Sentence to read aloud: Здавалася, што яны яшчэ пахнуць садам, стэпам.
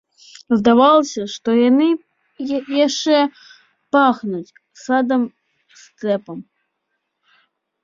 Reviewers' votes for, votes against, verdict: 2, 1, accepted